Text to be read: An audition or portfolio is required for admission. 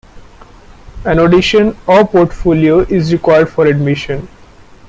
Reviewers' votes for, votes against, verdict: 2, 0, accepted